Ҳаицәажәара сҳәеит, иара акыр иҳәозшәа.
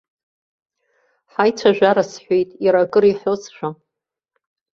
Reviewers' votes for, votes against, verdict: 1, 2, rejected